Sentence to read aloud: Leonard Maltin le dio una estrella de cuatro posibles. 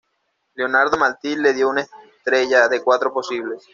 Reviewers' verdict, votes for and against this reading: rejected, 0, 2